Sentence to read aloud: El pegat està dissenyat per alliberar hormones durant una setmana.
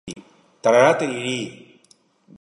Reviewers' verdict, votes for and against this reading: rejected, 0, 3